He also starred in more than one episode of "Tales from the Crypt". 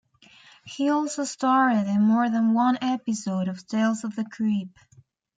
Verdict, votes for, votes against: rejected, 0, 2